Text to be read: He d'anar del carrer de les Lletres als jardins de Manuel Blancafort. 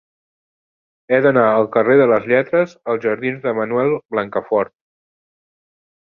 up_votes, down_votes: 0, 2